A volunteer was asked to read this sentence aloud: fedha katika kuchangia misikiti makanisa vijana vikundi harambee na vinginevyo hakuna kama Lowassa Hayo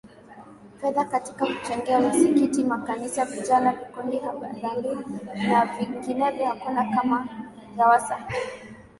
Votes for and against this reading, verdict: 9, 0, accepted